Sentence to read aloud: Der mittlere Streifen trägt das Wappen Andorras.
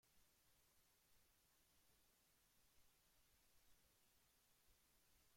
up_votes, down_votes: 0, 2